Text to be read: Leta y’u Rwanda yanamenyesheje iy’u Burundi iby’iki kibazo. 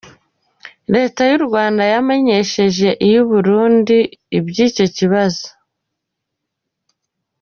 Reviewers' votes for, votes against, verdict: 0, 2, rejected